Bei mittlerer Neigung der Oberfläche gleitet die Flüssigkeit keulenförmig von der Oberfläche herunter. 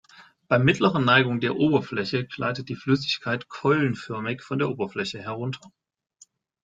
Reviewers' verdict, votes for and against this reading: accepted, 2, 0